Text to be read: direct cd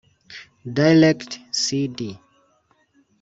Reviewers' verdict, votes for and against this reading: rejected, 0, 2